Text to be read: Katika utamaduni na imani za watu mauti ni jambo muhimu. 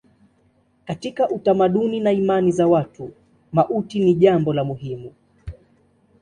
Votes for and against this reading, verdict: 2, 0, accepted